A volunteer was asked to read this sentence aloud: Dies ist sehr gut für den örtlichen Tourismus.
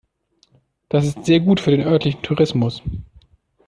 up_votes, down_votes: 1, 2